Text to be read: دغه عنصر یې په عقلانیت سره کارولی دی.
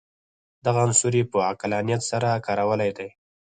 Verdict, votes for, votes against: rejected, 0, 4